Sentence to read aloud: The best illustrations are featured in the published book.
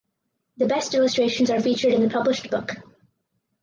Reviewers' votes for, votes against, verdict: 4, 0, accepted